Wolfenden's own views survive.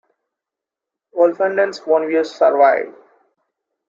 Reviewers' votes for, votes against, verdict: 2, 0, accepted